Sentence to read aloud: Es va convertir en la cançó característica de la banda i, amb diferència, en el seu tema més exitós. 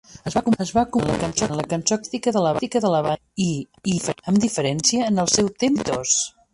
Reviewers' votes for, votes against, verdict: 1, 2, rejected